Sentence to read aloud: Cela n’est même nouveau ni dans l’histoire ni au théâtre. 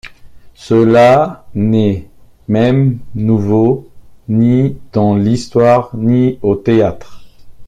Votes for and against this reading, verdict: 2, 0, accepted